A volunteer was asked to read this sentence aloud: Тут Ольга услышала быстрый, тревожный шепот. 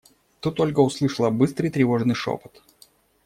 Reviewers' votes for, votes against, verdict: 2, 0, accepted